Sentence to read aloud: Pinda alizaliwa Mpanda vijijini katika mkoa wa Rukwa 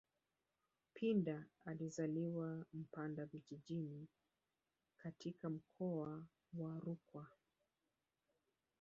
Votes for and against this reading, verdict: 0, 3, rejected